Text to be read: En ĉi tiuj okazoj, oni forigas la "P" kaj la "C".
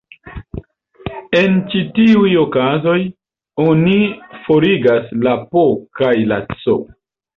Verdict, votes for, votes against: accepted, 2, 0